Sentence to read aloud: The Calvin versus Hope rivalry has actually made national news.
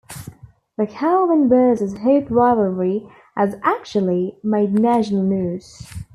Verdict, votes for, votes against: accepted, 2, 0